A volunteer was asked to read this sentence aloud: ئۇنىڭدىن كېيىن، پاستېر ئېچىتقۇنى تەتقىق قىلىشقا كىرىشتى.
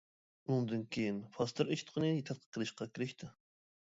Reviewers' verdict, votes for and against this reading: rejected, 1, 2